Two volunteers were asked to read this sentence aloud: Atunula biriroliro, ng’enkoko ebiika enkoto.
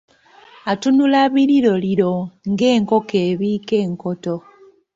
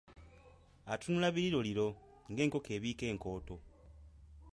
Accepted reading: first